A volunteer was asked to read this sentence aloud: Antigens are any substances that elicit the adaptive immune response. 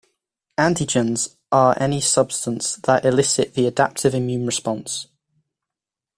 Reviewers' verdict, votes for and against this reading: rejected, 0, 2